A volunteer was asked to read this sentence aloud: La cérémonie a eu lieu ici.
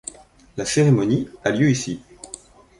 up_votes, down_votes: 1, 2